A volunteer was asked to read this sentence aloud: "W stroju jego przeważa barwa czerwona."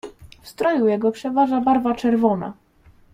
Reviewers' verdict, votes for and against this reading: accepted, 2, 1